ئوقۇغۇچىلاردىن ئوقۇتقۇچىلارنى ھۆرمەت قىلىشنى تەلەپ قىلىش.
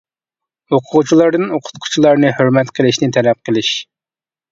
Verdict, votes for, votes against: accepted, 2, 0